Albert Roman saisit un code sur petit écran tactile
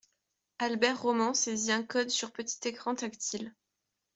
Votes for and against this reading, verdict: 2, 0, accepted